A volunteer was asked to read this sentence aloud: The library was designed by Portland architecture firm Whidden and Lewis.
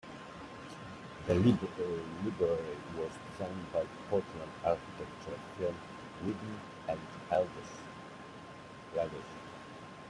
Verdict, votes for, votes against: rejected, 1, 2